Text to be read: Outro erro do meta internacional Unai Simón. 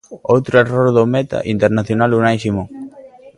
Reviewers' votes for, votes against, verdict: 0, 2, rejected